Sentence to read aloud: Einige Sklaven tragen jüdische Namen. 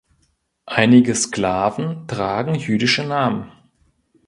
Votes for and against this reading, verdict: 3, 0, accepted